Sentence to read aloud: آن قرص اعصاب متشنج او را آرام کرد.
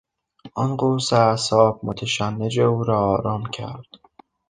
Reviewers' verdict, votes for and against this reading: rejected, 0, 2